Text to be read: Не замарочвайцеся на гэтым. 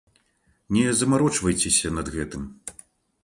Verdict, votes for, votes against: rejected, 0, 2